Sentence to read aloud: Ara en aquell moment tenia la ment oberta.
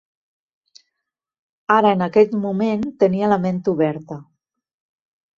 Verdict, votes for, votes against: rejected, 1, 2